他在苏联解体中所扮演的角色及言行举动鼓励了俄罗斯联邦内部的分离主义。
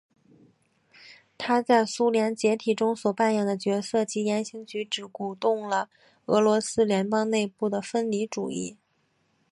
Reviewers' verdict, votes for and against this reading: accepted, 3, 2